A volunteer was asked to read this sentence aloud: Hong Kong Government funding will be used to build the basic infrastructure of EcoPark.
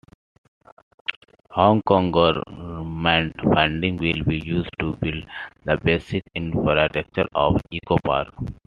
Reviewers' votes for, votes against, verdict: 2, 1, accepted